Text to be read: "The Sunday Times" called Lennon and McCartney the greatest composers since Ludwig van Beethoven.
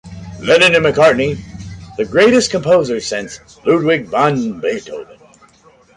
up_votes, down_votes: 1, 2